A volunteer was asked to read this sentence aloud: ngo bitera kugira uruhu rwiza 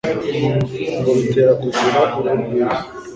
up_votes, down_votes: 2, 0